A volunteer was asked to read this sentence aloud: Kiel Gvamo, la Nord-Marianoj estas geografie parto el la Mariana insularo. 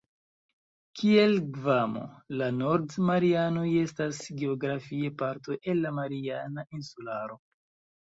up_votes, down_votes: 1, 2